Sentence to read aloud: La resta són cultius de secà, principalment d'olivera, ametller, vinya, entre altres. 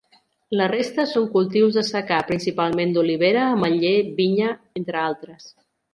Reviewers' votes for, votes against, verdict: 3, 0, accepted